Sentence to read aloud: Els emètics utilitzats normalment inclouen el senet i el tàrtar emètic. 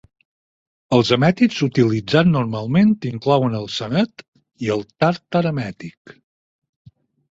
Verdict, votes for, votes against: rejected, 0, 4